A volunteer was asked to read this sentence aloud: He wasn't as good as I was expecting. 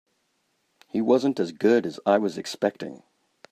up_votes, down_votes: 3, 0